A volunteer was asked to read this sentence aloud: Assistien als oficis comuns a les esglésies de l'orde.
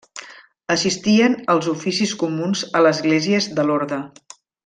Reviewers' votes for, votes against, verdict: 1, 2, rejected